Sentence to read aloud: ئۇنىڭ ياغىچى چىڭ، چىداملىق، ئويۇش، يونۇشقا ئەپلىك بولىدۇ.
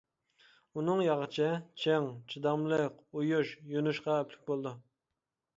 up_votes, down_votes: 2, 0